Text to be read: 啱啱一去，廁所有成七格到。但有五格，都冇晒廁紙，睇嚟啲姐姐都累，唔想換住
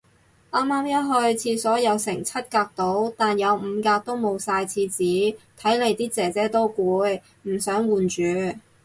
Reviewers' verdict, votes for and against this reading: rejected, 2, 4